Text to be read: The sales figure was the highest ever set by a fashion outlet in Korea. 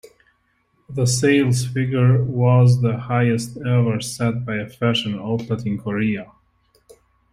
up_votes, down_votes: 2, 0